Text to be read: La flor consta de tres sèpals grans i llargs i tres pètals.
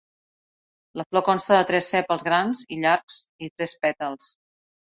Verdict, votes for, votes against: accepted, 2, 0